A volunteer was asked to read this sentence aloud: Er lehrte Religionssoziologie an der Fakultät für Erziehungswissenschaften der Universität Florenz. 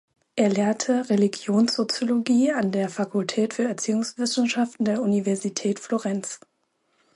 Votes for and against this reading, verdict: 2, 0, accepted